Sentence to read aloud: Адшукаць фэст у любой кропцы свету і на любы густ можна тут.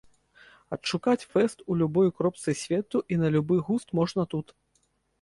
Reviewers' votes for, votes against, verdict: 2, 0, accepted